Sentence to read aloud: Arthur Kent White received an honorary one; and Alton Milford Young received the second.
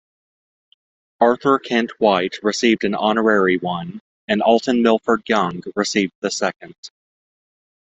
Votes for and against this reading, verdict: 2, 0, accepted